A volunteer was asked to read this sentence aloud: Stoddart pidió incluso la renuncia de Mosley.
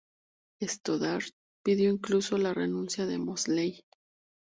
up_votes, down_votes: 2, 0